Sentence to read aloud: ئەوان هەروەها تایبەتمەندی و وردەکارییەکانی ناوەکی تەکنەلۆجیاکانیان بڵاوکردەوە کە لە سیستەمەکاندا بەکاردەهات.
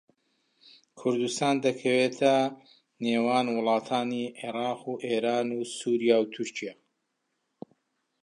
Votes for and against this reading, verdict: 0, 2, rejected